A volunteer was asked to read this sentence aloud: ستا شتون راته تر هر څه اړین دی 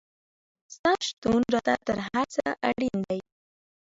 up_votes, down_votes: 2, 0